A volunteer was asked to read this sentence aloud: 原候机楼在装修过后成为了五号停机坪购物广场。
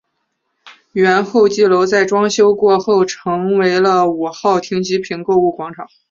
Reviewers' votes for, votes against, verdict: 6, 0, accepted